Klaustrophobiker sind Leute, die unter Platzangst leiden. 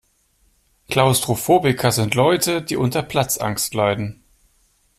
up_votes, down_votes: 2, 0